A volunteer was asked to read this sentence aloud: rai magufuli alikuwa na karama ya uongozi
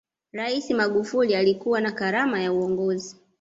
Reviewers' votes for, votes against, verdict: 2, 0, accepted